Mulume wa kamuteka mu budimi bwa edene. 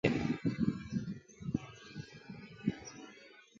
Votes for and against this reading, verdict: 0, 2, rejected